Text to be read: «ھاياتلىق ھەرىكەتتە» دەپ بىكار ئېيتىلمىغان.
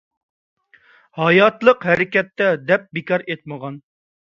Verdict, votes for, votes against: rejected, 0, 2